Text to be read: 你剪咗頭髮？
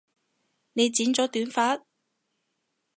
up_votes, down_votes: 0, 2